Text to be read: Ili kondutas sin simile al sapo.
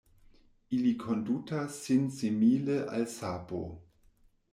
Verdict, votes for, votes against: accepted, 2, 0